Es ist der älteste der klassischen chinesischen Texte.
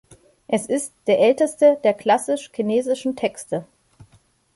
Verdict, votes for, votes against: rejected, 0, 2